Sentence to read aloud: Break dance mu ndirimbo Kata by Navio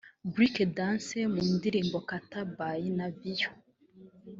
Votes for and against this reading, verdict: 0, 2, rejected